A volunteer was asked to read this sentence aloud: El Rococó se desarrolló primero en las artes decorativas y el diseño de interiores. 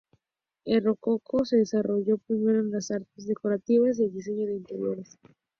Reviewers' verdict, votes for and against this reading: accepted, 2, 0